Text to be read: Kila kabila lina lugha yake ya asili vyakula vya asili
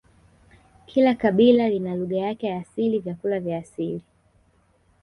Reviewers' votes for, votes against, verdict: 1, 2, rejected